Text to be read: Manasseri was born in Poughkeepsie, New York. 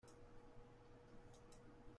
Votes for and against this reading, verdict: 0, 2, rejected